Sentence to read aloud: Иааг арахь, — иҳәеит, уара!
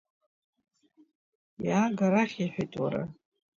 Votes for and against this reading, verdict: 2, 0, accepted